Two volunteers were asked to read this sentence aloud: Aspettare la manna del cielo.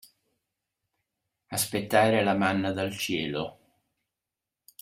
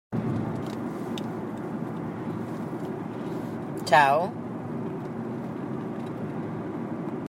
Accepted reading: first